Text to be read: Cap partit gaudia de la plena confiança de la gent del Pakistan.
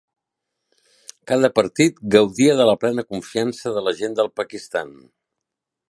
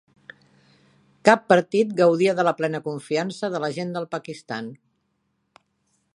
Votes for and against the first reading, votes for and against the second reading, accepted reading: 1, 2, 4, 0, second